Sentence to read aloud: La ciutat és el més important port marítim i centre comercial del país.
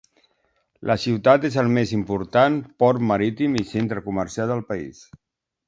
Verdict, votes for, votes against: accepted, 2, 0